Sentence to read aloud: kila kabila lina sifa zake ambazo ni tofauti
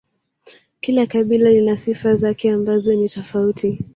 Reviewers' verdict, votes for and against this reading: rejected, 1, 2